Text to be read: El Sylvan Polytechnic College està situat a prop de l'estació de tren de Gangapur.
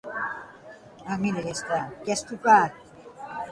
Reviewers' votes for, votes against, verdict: 1, 2, rejected